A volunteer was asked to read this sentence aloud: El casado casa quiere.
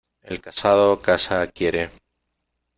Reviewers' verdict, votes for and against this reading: rejected, 1, 2